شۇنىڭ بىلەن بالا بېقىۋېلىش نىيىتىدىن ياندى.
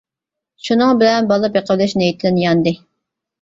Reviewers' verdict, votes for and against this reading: accepted, 2, 0